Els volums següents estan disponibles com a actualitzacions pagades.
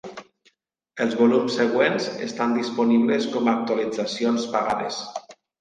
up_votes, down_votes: 2, 0